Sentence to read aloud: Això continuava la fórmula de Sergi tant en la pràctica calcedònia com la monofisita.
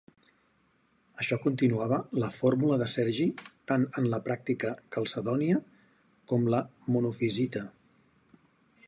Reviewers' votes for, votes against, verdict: 4, 0, accepted